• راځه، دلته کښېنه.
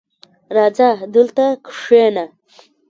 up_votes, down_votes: 0, 2